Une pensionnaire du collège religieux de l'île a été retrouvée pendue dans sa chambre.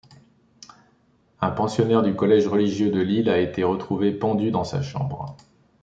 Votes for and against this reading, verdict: 1, 2, rejected